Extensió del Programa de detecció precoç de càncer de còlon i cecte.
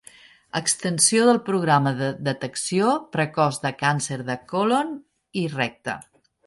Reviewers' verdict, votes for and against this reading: rejected, 0, 2